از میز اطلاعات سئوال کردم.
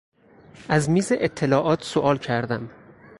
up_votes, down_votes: 4, 0